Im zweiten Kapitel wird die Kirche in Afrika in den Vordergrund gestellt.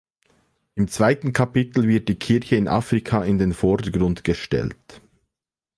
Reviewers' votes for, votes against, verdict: 2, 0, accepted